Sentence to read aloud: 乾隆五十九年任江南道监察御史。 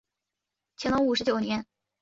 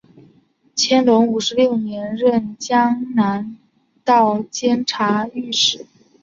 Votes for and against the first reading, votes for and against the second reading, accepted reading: 0, 2, 2, 0, second